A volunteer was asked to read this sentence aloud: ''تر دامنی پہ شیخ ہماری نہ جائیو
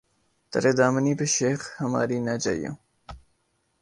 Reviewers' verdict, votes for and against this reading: accepted, 2, 0